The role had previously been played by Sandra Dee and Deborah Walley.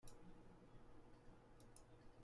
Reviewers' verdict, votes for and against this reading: rejected, 0, 2